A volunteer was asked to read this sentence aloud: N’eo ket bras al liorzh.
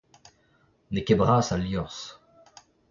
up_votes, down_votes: 2, 1